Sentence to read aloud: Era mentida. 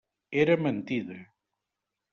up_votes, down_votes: 3, 0